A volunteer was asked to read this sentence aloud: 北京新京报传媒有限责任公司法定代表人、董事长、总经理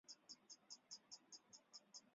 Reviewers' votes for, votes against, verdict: 0, 2, rejected